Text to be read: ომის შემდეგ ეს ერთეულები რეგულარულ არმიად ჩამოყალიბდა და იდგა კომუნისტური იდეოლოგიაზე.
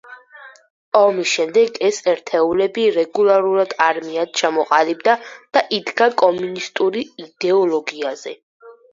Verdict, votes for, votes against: rejected, 2, 4